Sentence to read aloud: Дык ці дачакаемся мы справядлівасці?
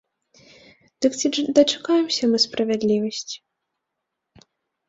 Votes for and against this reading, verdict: 0, 2, rejected